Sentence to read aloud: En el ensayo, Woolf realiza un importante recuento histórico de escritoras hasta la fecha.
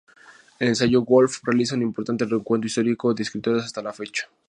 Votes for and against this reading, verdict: 2, 0, accepted